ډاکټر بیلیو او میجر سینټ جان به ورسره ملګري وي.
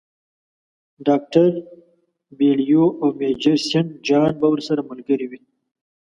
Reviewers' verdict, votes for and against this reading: accepted, 2, 0